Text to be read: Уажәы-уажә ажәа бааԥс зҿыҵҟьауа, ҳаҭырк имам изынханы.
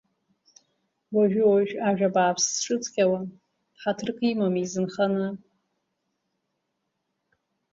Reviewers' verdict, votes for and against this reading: accepted, 2, 1